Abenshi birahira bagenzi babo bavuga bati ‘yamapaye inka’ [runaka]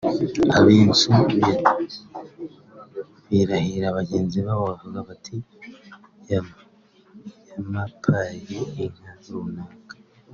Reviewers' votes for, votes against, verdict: 0, 2, rejected